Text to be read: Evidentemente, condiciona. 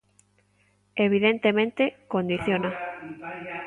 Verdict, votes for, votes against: rejected, 1, 2